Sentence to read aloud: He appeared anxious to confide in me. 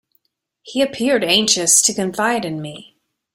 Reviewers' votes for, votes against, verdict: 2, 0, accepted